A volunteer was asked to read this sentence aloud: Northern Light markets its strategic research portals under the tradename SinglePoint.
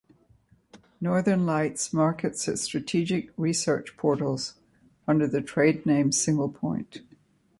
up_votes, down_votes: 2, 1